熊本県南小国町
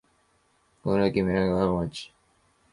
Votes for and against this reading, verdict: 0, 2, rejected